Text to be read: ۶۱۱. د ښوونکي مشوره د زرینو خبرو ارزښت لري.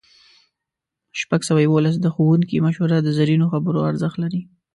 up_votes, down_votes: 0, 2